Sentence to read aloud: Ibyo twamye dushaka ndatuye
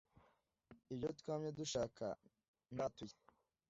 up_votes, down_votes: 1, 2